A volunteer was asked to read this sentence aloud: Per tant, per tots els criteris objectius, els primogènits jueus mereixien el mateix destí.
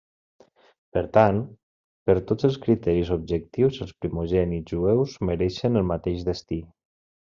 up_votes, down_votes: 1, 2